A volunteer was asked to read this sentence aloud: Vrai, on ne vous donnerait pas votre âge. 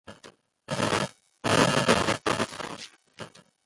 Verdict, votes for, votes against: rejected, 0, 2